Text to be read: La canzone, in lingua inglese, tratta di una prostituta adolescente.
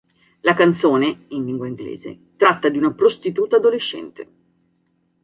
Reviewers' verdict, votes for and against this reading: accepted, 2, 0